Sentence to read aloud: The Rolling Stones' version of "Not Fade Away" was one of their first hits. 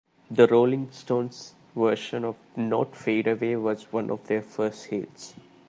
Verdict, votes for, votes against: rejected, 1, 2